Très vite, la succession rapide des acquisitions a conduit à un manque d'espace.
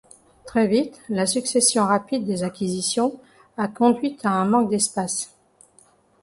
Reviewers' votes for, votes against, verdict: 2, 0, accepted